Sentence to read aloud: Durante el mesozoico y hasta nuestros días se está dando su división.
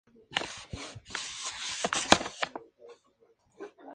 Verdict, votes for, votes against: rejected, 0, 2